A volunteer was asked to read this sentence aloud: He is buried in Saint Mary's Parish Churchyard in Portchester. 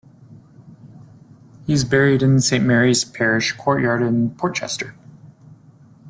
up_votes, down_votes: 1, 2